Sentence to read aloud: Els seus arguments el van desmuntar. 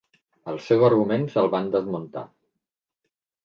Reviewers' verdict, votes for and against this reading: rejected, 0, 2